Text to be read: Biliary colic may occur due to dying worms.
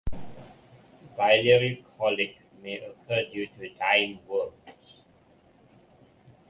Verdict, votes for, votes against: rejected, 1, 2